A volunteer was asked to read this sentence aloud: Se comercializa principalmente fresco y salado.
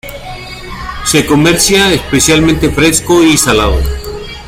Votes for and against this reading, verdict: 1, 2, rejected